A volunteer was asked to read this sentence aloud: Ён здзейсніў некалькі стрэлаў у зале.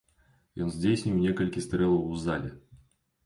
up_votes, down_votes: 2, 0